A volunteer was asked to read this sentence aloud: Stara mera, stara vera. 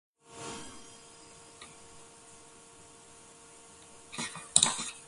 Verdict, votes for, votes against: rejected, 0, 2